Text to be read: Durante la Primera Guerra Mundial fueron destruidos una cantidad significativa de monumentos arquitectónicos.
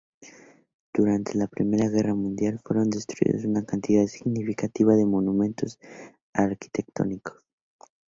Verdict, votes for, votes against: rejected, 4, 4